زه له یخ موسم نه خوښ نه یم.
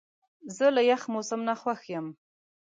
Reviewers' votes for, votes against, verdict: 1, 2, rejected